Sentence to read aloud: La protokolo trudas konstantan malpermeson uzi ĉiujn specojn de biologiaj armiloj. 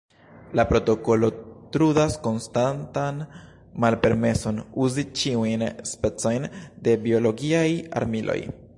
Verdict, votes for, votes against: rejected, 1, 2